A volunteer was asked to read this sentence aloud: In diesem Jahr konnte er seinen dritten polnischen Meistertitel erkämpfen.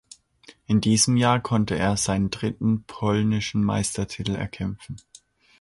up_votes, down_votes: 2, 0